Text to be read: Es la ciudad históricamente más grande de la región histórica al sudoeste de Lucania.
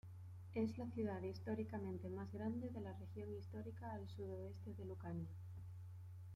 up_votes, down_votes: 0, 2